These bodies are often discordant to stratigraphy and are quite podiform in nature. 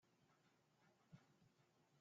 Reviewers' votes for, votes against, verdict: 0, 2, rejected